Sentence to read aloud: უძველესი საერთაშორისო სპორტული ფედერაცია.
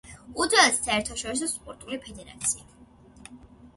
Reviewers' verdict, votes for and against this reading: accepted, 2, 0